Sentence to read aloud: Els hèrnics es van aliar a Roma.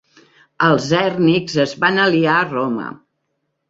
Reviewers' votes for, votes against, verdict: 3, 0, accepted